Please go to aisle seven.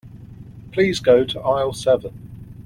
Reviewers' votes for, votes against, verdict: 2, 0, accepted